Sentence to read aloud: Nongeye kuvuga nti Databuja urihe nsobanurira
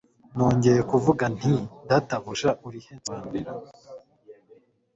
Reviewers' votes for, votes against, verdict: 3, 0, accepted